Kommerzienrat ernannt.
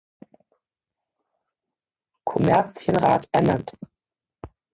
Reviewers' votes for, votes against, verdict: 1, 2, rejected